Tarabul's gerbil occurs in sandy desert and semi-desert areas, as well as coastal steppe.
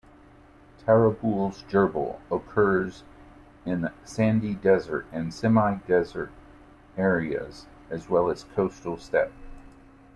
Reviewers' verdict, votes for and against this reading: rejected, 0, 2